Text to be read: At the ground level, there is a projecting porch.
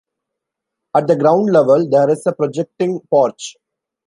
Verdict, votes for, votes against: accepted, 2, 0